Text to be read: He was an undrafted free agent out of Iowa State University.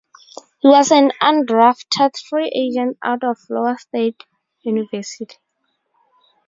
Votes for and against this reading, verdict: 0, 4, rejected